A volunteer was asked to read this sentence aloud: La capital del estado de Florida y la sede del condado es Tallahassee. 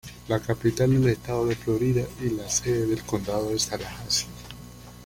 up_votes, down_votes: 1, 2